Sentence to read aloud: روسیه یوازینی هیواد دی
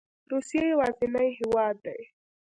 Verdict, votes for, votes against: accepted, 2, 0